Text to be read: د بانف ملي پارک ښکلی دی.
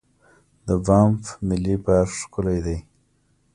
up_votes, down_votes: 2, 0